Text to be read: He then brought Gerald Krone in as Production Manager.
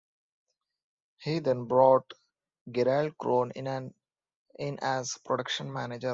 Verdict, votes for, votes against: rejected, 0, 2